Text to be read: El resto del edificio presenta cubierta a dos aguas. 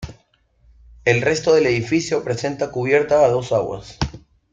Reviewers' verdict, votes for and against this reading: accepted, 2, 0